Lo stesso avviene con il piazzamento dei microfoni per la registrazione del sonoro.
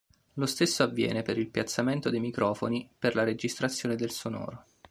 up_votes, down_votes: 1, 2